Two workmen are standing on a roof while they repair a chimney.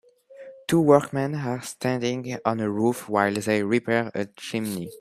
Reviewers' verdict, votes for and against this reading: accepted, 2, 0